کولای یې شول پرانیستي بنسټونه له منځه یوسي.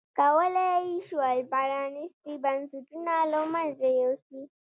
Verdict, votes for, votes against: accepted, 2, 0